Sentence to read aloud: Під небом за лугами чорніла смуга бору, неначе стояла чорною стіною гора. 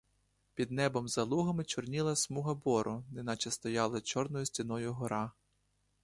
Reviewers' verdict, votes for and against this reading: accepted, 2, 0